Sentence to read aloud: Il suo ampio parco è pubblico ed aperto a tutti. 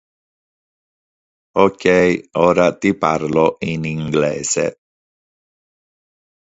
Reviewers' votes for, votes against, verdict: 0, 2, rejected